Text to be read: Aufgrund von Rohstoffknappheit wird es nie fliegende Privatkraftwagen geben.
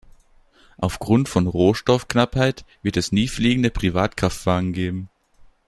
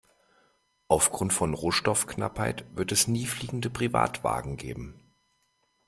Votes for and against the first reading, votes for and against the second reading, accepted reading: 2, 0, 0, 2, first